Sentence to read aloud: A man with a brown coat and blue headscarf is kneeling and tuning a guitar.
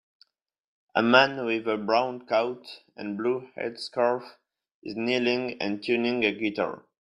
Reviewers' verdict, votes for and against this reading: rejected, 2, 3